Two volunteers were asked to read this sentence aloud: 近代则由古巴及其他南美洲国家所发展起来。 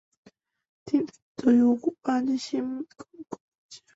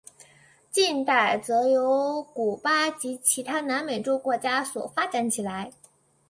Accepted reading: second